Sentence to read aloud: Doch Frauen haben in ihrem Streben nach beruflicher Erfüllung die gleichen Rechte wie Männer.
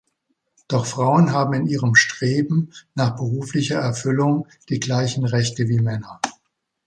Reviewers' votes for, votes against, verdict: 2, 0, accepted